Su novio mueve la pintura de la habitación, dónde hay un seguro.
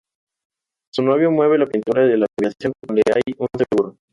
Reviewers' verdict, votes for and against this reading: rejected, 0, 2